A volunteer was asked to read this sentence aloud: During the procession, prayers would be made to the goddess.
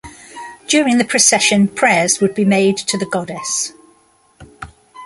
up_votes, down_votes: 1, 2